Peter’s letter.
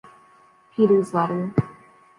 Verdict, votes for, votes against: rejected, 1, 2